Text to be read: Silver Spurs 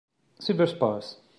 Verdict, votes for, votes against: accepted, 2, 1